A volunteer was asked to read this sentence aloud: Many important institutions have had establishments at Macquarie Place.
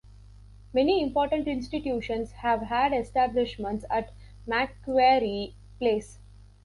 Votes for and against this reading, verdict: 2, 3, rejected